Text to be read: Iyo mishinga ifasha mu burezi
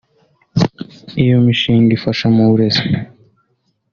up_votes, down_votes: 2, 0